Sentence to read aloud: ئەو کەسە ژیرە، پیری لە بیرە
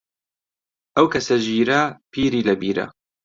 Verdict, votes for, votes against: accepted, 2, 0